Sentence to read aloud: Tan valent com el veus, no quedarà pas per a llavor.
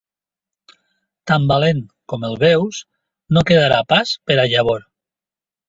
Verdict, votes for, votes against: accepted, 3, 2